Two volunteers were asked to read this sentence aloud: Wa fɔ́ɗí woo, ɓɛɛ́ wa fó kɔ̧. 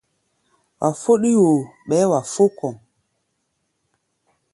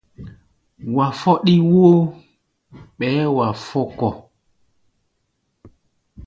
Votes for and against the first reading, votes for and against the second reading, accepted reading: 2, 0, 1, 2, first